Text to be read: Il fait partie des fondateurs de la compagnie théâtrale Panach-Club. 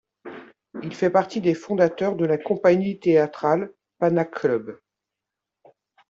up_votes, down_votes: 0, 2